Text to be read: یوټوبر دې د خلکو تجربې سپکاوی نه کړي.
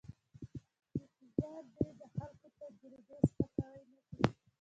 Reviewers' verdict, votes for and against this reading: rejected, 1, 2